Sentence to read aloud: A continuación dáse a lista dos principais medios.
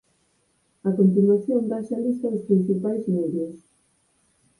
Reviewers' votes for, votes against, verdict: 4, 0, accepted